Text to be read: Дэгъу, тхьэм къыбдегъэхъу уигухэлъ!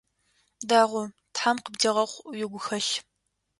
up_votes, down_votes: 2, 0